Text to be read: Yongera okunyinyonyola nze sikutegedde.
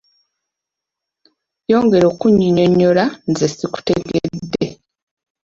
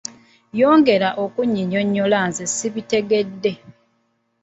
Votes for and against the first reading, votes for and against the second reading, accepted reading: 2, 0, 1, 2, first